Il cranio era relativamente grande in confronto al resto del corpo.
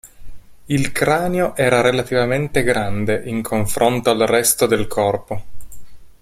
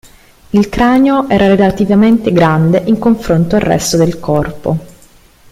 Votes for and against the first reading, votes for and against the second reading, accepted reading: 2, 0, 1, 2, first